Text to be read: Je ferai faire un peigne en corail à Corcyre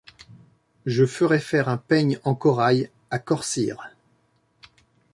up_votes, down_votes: 2, 0